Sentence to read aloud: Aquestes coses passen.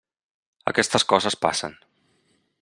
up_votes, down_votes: 3, 0